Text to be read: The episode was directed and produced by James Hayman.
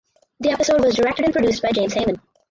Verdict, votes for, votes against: rejected, 2, 4